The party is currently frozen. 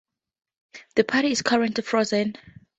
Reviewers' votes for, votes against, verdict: 2, 0, accepted